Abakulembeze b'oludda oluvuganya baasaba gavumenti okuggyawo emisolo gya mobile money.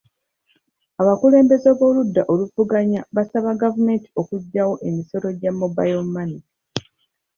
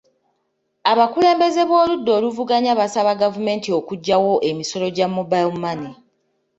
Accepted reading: second